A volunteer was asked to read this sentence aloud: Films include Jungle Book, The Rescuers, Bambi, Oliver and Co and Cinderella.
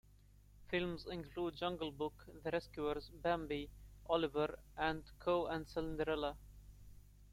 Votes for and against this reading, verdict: 0, 2, rejected